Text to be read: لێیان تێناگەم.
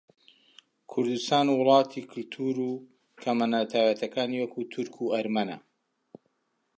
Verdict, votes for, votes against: rejected, 0, 3